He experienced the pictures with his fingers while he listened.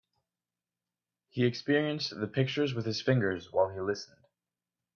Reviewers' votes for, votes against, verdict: 2, 0, accepted